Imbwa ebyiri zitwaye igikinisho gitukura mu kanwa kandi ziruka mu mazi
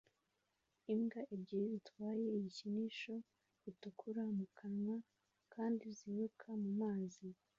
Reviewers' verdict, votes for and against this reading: accepted, 2, 1